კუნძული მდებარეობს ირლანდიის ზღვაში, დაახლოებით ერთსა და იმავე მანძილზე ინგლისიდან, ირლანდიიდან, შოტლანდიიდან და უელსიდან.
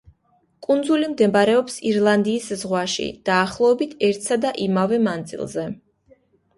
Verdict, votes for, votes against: rejected, 1, 2